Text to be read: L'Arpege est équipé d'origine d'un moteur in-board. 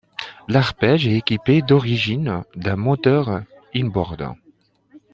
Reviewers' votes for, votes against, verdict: 3, 1, accepted